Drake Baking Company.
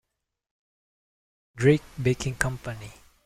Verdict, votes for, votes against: accepted, 2, 0